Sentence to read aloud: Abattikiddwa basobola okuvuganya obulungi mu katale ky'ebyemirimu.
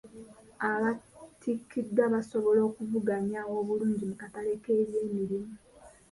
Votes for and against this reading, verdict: 2, 1, accepted